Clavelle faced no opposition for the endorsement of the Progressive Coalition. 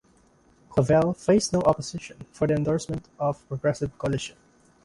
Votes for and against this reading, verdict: 1, 2, rejected